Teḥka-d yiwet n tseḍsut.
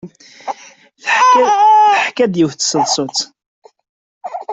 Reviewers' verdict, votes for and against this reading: rejected, 1, 2